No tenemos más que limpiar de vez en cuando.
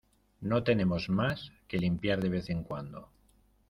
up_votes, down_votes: 2, 0